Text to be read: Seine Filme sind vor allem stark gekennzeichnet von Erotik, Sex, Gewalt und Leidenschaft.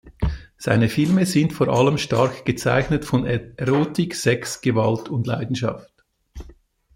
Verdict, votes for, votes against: rejected, 1, 2